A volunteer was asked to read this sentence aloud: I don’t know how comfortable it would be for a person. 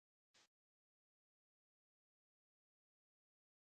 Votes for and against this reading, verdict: 0, 2, rejected